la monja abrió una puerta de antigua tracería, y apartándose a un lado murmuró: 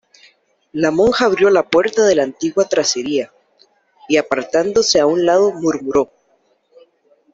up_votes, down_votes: 0, 2